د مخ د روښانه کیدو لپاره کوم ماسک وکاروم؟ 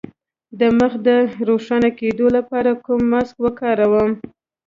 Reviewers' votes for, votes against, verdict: 0, 2, rejected